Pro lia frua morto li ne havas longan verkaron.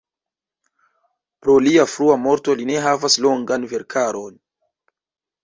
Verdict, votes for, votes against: rejected, 1, 2